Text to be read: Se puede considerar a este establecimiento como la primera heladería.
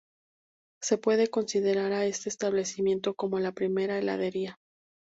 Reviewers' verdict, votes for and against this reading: rejected, 2, 2